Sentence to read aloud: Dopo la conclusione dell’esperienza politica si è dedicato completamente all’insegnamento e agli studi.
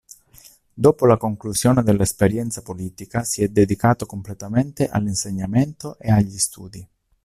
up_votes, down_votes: 2, 0